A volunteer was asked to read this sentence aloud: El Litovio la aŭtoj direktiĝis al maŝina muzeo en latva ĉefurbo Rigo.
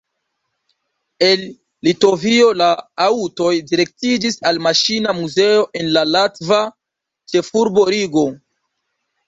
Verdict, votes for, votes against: accepted, 3, 0